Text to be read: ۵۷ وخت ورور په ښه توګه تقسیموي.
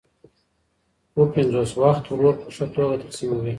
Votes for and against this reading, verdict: 0, 2, rejected